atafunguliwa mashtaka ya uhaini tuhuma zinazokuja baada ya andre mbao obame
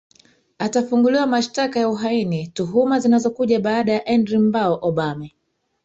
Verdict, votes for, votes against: rejected, 1, 2